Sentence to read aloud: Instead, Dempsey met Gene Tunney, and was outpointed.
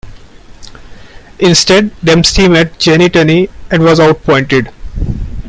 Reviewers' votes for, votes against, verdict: 1, 2, rejected